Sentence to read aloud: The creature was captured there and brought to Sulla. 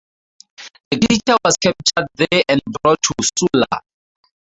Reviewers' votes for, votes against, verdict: 0, 4, rejected